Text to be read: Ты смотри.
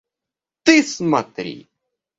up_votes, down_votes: 0, 2